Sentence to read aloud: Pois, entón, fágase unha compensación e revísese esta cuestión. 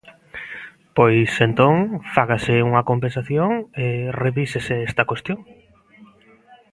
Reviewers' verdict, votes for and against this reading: rejected, 0, 2